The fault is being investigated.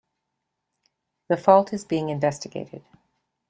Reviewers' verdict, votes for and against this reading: accepted, 2, 0